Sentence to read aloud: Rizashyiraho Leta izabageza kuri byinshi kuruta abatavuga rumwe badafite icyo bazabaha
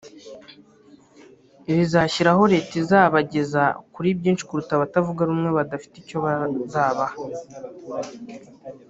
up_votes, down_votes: 1, 2